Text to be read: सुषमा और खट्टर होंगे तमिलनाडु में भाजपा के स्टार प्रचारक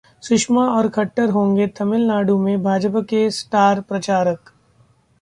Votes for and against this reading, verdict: 2, 0, accepted